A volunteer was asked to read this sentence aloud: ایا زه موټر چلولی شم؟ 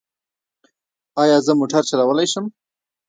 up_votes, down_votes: 2, 0